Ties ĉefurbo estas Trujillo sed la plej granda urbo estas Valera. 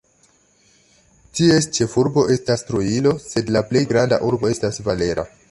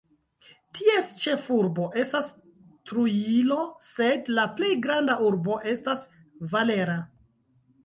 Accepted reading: first